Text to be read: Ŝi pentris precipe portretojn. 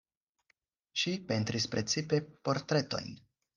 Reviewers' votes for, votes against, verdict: 4, 0, accepted